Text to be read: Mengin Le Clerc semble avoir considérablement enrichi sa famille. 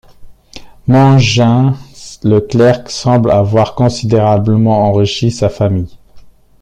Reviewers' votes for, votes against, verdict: 0, 2, rejected